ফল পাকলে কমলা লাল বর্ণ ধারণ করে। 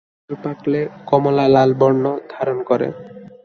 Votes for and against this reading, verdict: 2, 1, accepted